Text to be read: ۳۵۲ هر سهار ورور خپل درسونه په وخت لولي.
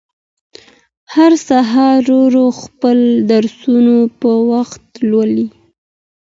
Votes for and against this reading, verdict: 0, 2, rejected